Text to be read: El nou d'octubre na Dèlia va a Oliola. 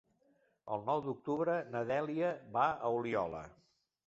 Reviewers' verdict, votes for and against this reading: accepted, 3, 0